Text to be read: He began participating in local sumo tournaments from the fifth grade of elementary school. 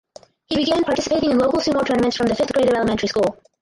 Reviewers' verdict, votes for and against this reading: rejected, 0, 4